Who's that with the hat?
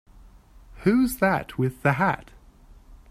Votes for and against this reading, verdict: 3, 0, accepted